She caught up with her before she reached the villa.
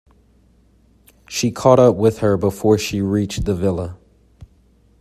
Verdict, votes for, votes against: accepted, 2, 0